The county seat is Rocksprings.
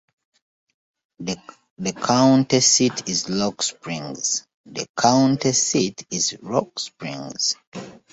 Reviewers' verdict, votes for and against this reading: rejected, 1, 2